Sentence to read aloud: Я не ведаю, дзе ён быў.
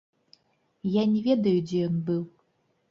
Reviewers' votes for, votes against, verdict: 1, 2, rejected